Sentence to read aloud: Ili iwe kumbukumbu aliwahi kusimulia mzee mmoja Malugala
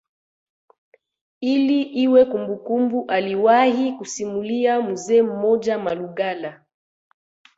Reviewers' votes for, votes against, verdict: 2, 0, accepted